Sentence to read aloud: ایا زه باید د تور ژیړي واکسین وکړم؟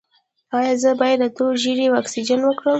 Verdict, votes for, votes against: rejected, 1, 2